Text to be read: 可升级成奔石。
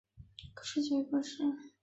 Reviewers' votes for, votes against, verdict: 2, 2, rejected